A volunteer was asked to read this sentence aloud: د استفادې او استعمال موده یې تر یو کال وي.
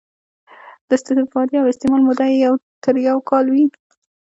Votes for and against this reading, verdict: 2, 1, accepted